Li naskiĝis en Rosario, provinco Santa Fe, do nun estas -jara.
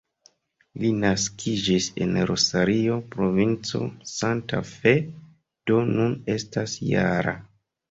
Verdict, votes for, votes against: accepted, 2, 0